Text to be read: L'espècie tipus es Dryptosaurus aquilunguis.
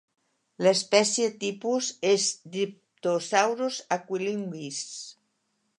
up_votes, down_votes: 1, 2